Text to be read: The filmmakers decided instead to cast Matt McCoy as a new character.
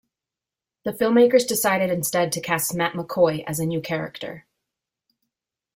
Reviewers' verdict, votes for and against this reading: accepted, 2, 1